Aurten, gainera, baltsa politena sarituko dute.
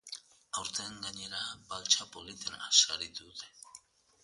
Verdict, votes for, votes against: accepted, 3, 0